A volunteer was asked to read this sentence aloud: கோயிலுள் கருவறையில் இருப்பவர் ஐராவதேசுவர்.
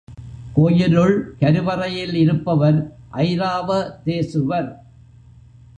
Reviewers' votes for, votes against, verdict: 2, 0, accepted